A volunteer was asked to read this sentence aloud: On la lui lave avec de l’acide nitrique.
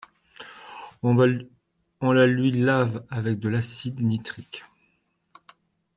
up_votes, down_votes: 0, 2